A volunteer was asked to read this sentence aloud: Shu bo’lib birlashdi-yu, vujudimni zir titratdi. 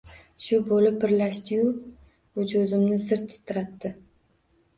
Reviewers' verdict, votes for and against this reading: accepted, 2, 0